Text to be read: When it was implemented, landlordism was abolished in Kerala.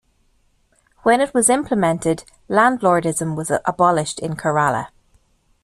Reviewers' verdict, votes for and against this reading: accepted, 2, 1